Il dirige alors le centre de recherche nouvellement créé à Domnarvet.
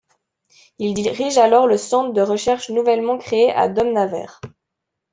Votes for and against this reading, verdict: 1, 2, rejected